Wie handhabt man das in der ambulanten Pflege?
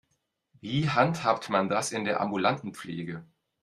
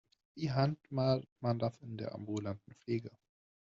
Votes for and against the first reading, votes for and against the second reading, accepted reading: 2, 0, 0, 2, first